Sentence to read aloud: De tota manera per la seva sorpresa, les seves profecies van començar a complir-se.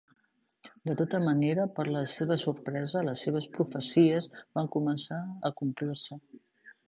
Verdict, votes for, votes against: accepted, 3, 0